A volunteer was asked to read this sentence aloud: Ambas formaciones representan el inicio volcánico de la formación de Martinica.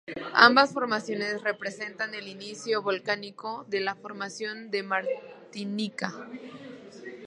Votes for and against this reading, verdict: 0, 2, rejected